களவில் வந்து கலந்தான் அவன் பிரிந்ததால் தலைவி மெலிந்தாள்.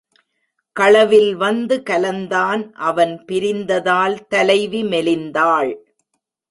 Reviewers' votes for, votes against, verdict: 1, 2, rejected